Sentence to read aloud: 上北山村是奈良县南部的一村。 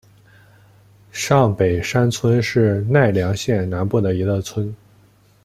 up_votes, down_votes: 0, 2